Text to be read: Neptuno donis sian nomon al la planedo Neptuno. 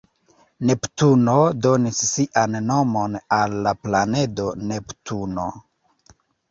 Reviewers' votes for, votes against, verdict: 3, 0, accepted